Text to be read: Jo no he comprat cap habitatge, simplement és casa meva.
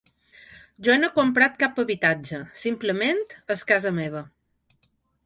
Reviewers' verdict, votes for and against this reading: accepted, 3, 0